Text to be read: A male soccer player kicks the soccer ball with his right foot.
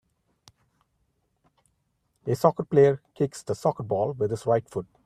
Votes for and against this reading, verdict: 0, 2, rejected